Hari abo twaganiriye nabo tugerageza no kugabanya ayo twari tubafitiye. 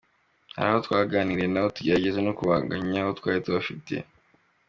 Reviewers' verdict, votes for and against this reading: accepted, 2, 1